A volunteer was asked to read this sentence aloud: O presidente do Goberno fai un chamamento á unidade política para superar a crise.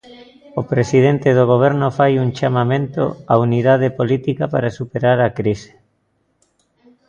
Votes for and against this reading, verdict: 2, 0, accepted